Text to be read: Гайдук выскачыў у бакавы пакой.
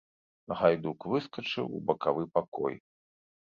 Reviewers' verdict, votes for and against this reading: accepted, 2, 0